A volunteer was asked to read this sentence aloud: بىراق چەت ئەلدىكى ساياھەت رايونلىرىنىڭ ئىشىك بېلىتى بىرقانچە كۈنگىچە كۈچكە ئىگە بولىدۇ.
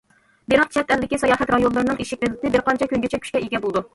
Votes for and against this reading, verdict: 1, 2, rejected